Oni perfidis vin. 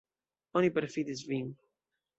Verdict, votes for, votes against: accepted, 2, 0